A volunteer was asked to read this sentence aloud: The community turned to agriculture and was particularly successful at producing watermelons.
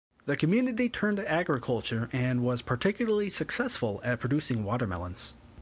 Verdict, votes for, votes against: accepted, 2, 0